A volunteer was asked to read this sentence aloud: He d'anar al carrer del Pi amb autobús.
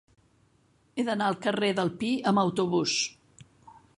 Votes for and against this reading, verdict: 5, 0, accepted